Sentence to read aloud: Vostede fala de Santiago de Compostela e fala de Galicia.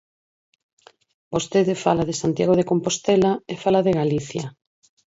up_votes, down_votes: 4, 0